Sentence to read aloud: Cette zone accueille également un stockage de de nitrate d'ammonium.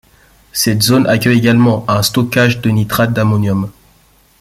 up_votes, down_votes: 2, 0